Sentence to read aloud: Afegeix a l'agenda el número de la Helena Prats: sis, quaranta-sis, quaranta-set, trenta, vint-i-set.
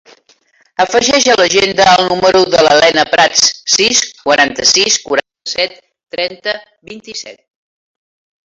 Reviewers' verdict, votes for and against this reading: accepted, 2, 1